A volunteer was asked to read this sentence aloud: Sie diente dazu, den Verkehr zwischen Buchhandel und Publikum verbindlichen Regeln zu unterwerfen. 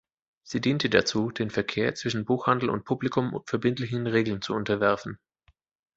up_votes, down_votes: 2, 0